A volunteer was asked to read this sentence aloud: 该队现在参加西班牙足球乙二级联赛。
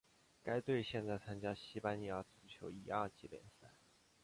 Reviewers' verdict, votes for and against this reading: accepted, 3, 2